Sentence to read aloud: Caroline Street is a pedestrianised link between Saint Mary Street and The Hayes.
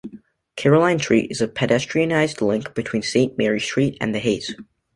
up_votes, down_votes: 1, 2